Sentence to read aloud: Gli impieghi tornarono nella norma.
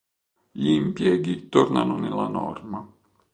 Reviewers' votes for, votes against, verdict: 1, 2, rejected